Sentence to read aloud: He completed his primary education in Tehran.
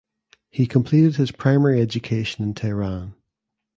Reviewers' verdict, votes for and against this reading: accepted, 2, 0